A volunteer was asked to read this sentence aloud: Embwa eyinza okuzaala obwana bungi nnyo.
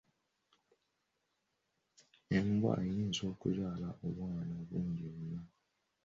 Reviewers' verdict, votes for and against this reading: accepted, 2, 0